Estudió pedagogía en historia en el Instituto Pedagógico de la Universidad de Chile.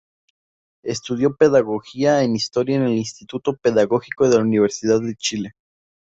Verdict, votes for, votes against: accepted, 2, 0